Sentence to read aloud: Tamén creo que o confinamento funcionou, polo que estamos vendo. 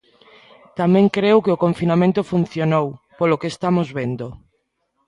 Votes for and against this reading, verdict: 1, 2, rejected